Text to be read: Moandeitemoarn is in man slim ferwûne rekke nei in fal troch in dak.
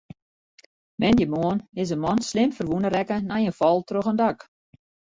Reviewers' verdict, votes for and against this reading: rejected, 1, 2